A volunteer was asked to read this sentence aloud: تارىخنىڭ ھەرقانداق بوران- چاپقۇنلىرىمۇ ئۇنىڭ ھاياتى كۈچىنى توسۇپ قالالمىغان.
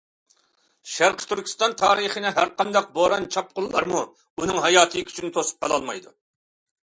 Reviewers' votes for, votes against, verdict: 0, 2, rejected